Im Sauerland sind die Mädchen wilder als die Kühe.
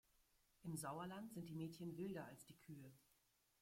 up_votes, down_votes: 1, 2